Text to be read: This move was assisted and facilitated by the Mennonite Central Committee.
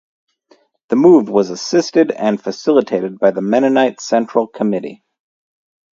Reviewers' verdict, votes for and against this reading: rejected, 0, 4